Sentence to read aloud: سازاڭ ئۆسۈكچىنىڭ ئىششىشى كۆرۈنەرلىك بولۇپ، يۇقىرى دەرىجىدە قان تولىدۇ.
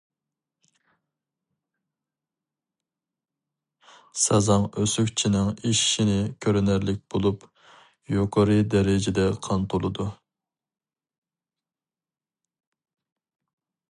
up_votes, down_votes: 0, 2